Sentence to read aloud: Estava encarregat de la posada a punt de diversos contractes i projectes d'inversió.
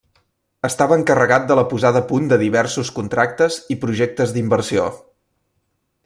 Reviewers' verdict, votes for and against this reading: accepted, 2, 0